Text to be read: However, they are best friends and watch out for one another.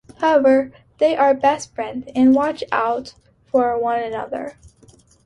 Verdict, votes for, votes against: accepted, 2, 0